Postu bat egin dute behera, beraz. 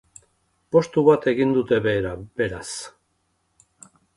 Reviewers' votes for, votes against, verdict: 2, 0, accepted